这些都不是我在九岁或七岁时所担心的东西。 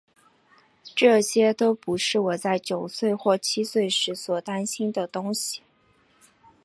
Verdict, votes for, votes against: accepted, 2, 0